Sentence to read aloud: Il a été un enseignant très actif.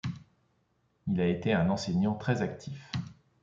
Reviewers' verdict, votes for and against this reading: accepted, 2, 0